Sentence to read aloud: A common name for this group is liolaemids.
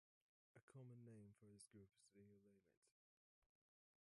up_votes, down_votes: 0, 2